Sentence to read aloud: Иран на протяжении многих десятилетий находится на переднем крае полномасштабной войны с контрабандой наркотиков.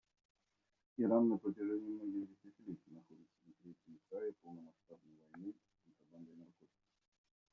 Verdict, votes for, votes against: rejected, 0, 2